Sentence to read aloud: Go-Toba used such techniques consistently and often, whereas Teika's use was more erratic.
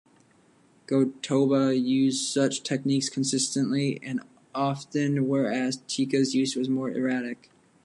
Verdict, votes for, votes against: accepted, 3, 0